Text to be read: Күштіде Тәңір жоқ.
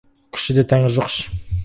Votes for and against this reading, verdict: 2, 4, rejected